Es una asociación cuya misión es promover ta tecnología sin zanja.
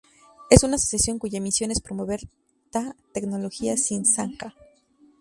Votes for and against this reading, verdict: 2, 0, accepted